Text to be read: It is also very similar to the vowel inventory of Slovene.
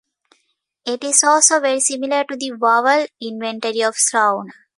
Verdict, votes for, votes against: rejected, 0, 2